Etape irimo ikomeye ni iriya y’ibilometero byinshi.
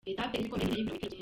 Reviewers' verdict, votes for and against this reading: rejected, 0, 2